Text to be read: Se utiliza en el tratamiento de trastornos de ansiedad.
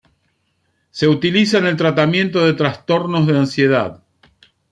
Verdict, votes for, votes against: accepted, 2, 1